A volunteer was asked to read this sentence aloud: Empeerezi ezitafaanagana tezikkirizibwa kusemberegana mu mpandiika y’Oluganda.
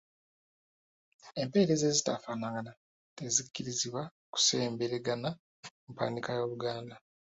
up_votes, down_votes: 1, 2